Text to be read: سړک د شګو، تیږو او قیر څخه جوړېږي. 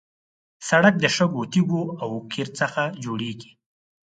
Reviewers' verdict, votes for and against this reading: accepted, 4, 0